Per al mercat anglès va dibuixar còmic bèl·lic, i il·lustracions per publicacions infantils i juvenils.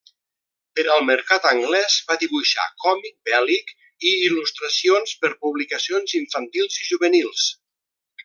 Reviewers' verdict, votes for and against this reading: accepted, 2, 1